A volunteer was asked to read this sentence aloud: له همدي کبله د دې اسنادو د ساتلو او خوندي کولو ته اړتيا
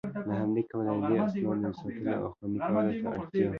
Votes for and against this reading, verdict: 2, 1, accepted